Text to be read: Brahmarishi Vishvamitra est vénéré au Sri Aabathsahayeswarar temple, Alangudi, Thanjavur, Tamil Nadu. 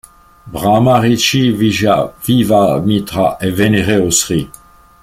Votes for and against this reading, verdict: 0, 2, rejected